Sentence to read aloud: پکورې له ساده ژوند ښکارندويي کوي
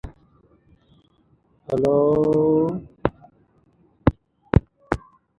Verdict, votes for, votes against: rejected, 1, 3